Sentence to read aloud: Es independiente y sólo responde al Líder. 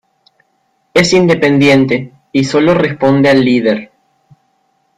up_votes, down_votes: 0, 2